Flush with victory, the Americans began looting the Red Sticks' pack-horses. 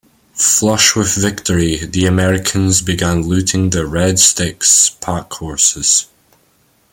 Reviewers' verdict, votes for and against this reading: accepted, 2, 0